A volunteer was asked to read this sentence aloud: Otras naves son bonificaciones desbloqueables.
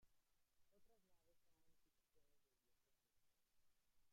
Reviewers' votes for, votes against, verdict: 0, 2, rejected